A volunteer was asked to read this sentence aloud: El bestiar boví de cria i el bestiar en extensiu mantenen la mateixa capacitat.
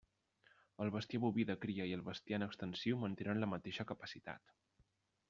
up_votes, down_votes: 0, 2